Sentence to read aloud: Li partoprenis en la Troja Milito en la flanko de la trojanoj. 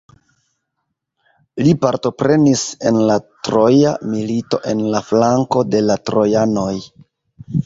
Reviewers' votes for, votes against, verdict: 2, 0, accepted